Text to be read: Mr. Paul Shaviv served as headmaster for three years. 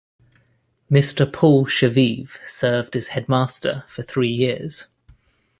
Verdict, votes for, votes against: accepted, 3, 0